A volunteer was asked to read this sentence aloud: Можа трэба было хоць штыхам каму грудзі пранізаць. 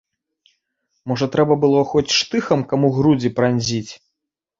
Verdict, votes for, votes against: rejected, 1, 2